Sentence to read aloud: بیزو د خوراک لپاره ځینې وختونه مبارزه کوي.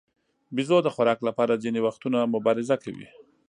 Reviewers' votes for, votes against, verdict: 2, 0, accepted